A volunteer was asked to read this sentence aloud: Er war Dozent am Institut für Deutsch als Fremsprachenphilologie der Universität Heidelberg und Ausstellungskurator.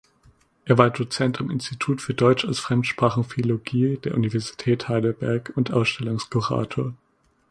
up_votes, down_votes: 2, 0